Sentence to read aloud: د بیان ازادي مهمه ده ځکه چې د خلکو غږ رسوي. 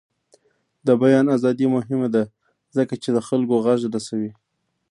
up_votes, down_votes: 0, 2